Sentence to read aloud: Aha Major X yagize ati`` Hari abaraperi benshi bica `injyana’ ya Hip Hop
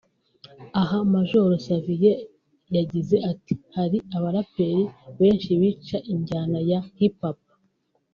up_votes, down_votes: 1, 2